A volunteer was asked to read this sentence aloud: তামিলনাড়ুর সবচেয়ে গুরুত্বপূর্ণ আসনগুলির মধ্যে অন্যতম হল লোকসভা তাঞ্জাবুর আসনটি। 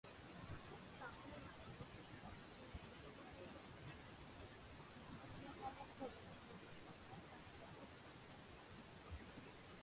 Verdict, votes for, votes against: rejected, 0, 2